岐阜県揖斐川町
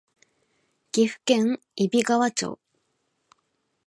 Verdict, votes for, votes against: accepted, 2, 0